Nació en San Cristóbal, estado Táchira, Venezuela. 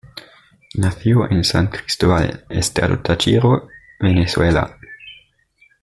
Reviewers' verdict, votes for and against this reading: rejected, 1, 2